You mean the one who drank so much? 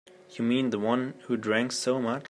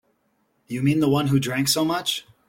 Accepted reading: second